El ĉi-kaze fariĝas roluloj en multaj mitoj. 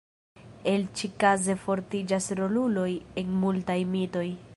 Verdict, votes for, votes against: rejected, 1, 2